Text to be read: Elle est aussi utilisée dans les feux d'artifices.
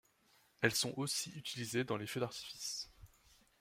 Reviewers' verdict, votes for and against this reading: rejected, 1, 2